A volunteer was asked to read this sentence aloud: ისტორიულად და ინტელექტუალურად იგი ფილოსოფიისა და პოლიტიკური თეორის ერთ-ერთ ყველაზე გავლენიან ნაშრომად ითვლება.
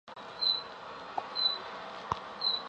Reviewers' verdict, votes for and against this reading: rejected, 0, 2